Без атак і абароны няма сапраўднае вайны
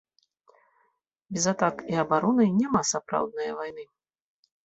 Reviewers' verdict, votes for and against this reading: accepted, 2, 0